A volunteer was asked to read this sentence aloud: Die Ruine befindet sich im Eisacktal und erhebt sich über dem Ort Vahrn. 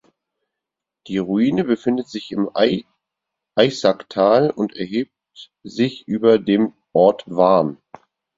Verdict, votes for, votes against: rejected, 0, 4